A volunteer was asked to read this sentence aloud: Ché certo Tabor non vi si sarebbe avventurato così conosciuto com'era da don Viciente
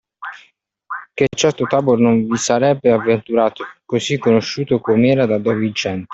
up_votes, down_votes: 2, 1